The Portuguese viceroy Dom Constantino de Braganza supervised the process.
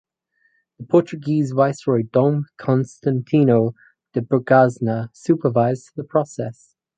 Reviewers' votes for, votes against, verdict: 4, 0, accepted